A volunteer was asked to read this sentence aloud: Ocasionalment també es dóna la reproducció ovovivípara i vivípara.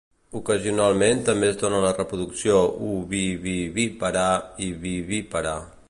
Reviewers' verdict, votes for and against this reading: rejected, 0, 2